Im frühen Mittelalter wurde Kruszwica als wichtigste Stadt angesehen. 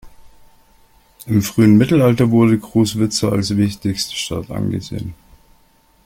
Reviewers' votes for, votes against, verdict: 2, 0, accepted